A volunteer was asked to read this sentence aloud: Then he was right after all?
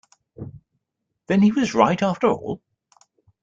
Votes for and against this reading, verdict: 2, 0, accepted